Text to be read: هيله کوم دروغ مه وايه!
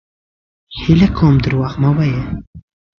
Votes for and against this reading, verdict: 2, 0, accepted